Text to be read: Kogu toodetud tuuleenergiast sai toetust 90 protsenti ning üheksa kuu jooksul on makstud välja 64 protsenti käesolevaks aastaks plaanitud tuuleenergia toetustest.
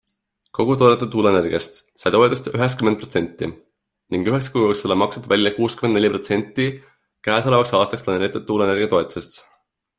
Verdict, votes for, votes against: rejected, 0, 2